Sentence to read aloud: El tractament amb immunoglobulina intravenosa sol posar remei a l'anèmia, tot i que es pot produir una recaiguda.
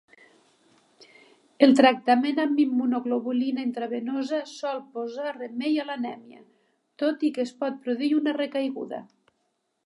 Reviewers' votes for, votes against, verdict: 2, 0, accepted